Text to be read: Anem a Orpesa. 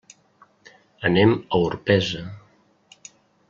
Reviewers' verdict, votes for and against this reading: accepted, 3, 0